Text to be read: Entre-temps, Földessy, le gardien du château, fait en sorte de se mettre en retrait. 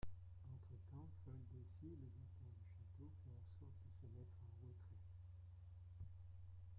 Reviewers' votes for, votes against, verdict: 0, 2, rejected